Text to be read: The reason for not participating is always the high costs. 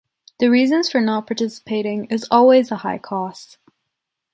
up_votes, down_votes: 1, 2